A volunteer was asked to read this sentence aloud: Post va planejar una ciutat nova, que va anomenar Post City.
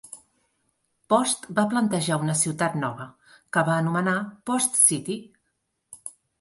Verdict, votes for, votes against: rejected, 0, 2